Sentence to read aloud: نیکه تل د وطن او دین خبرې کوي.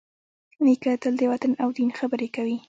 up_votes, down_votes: 1, 2